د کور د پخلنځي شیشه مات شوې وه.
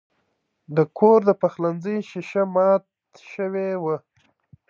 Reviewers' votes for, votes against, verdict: 2, 0, accepted